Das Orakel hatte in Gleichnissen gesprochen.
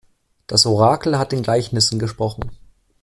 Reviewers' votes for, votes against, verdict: 1, 2, rejected